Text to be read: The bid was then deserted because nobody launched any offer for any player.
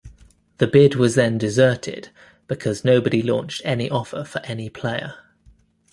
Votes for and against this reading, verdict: 2, 0, accepted